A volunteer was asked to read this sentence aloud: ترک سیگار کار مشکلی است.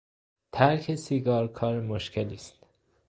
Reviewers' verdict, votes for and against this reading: rejected, 0, 2